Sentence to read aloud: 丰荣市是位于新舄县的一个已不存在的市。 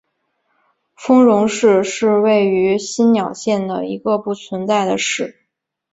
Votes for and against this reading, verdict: 3, 0, accepted